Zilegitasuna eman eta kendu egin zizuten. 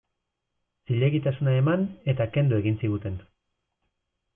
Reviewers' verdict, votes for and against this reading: rejected, 0, 2